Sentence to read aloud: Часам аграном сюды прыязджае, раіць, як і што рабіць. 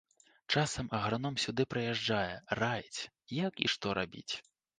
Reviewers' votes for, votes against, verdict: 2, 0, accepted